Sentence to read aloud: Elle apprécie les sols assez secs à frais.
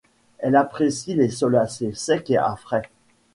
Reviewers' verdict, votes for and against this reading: rejected, 1, 3